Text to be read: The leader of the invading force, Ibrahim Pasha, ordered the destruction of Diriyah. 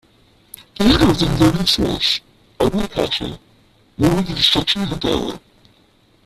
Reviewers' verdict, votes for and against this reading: rejected, 0, 2